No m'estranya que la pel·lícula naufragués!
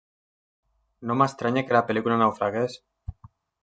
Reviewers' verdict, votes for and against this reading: rejected, 1, 2